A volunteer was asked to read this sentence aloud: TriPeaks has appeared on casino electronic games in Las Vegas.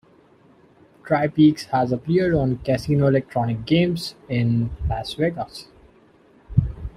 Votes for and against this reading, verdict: 2, 0, accepted